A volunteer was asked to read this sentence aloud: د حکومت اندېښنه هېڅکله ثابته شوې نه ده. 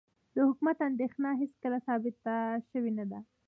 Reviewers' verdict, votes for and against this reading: rejected, 1, 2